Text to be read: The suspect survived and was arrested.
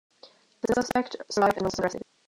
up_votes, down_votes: 0, 2